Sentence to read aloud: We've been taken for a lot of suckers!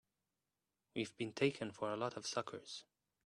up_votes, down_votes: 2, 0